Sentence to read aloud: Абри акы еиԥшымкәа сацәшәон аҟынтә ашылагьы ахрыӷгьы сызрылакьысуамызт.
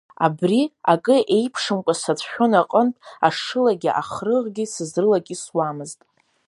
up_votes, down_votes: 2, 0